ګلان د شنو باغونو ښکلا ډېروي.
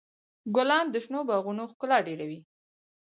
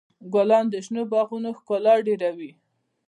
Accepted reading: second